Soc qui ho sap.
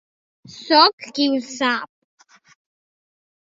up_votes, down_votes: 3, 1